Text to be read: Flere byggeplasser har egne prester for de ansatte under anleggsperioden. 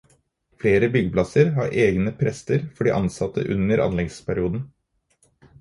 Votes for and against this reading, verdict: 4, 0, accepted